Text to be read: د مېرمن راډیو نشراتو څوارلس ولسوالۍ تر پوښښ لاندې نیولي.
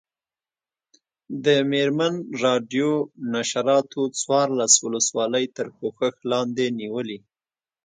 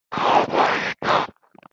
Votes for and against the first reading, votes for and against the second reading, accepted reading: 2, 0, 1, 2, first